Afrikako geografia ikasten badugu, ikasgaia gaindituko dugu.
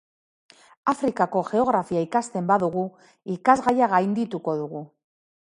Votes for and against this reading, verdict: 2, 1, accepted